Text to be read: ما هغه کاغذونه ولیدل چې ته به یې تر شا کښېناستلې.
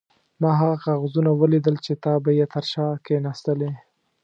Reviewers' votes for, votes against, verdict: 1, 2, rejected